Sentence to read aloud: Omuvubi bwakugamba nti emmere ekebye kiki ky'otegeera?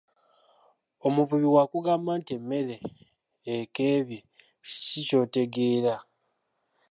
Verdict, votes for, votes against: accepted, 2, 1